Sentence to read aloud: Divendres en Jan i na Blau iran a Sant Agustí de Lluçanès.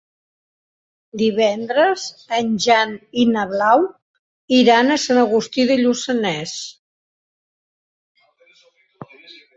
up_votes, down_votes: 4, 0